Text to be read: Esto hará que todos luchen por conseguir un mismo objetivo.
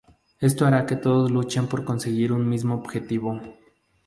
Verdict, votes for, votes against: accepted, 2, 0